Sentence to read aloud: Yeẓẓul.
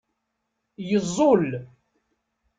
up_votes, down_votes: 2, 0